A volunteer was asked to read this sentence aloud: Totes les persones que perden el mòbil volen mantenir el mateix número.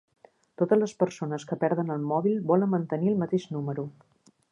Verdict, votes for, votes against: accepted, 3, 0